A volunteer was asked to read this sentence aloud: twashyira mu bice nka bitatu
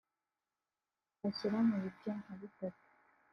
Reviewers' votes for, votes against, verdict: 2, 0, accepted